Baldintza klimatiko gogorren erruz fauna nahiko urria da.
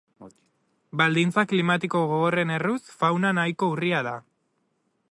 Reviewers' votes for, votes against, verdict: 2, 0, accepted